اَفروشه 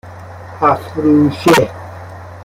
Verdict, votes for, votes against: rejected, 0, 2